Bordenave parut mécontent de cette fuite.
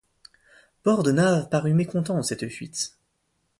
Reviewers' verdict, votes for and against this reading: rejected, 0, 2